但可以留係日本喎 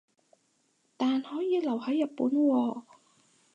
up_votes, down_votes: 2, 4